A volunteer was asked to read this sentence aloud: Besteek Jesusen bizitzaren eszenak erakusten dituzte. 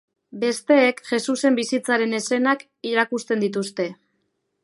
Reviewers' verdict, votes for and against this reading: rejected, 2, 2